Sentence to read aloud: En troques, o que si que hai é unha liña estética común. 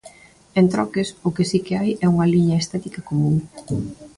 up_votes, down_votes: 2, 0